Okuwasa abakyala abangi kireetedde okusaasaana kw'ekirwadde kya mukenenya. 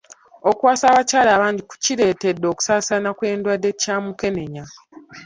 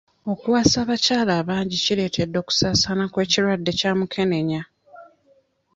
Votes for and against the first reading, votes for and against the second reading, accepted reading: 0, 2, 2, 0, second